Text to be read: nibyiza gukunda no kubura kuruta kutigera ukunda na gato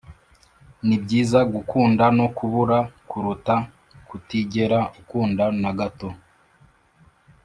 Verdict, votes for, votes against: accepted, 3, 0